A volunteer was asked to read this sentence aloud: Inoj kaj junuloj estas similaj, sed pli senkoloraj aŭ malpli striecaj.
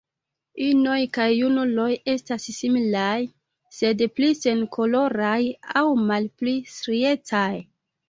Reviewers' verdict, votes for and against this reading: accepted, 2, 0